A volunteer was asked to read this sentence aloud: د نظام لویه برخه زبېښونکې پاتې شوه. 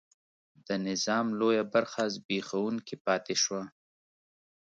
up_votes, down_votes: 2, 0